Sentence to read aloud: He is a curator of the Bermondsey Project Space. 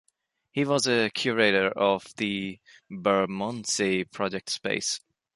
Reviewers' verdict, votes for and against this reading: rejected, 1, 2